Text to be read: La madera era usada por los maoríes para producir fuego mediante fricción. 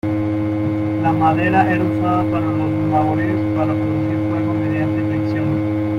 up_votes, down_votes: 1, 2